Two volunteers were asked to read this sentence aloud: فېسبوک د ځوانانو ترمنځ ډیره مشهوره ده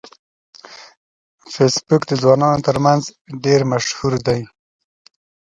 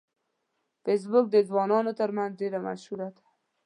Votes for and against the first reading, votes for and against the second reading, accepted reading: 0, 2, 2, 0, second